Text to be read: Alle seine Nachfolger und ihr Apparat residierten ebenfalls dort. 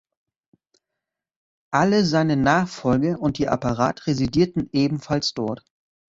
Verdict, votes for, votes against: rejected, 0, 2